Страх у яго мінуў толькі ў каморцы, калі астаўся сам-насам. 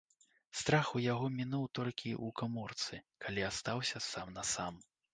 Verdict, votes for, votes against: rejected, 1, 2